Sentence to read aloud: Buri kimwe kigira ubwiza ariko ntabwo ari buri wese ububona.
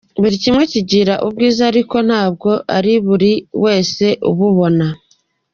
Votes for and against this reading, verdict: 2, 1, accepted